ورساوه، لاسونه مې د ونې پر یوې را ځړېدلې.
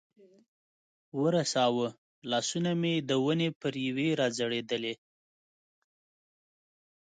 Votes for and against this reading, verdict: 2, 0, accepted